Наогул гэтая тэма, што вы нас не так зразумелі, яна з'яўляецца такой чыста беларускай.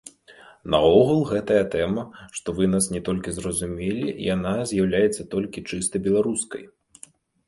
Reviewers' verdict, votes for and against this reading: rejected, 0, 2